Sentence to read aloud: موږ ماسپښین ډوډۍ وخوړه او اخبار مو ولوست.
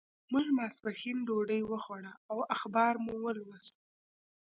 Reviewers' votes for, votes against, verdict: 2, 0, accepted